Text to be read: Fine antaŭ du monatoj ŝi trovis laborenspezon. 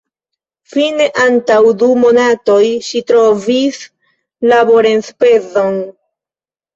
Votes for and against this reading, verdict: 0, 2, rejected